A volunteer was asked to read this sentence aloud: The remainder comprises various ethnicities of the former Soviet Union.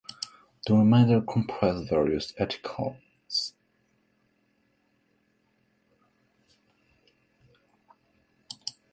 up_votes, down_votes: 0, 2